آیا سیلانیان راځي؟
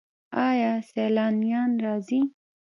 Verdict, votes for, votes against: accepted, 2, 0